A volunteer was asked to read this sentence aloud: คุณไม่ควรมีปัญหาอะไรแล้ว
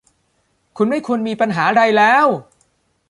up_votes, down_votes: 1, 2